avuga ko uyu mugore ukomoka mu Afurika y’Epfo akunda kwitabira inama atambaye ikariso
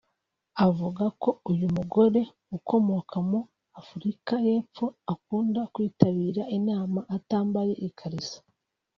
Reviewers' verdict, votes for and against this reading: accepted, 2, 1